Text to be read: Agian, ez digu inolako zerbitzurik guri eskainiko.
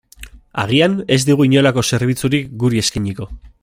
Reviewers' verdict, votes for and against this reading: accepted, 3, 1